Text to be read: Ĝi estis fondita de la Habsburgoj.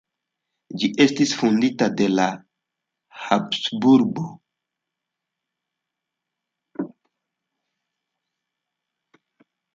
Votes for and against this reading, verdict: 1, 2, rejected